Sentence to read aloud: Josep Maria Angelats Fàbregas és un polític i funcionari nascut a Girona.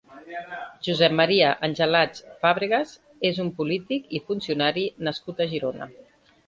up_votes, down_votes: 1, 2